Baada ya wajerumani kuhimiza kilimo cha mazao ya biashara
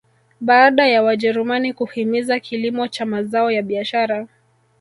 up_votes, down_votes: 1, 2